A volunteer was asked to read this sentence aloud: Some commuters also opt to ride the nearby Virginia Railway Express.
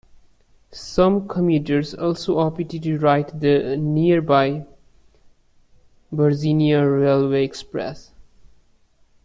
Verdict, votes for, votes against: rejected, 0, 2